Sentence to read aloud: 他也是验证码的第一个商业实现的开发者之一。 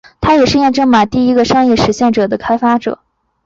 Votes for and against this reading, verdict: 0, 3, rejected